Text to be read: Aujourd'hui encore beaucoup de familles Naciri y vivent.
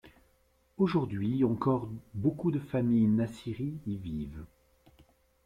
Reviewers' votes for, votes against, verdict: 2, 0, accepted